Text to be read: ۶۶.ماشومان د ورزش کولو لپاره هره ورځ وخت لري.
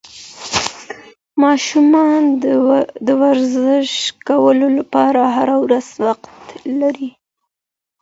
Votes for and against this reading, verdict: 0, 2, rejected